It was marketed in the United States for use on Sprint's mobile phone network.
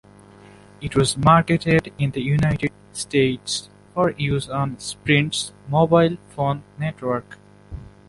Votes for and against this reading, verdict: 2, 0, accepted